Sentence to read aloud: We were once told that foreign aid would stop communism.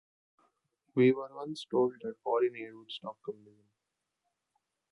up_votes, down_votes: 1, 2